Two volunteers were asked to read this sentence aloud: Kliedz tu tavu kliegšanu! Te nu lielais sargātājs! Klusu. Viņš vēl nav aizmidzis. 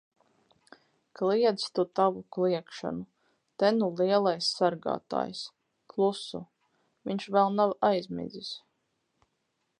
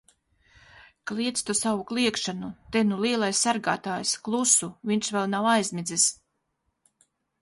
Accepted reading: first